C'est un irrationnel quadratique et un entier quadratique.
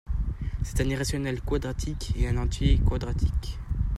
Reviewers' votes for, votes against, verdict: 2, 0, accepted